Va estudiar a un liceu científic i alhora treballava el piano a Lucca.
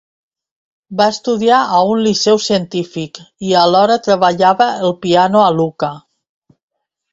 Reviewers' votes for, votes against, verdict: 2, 0, accepted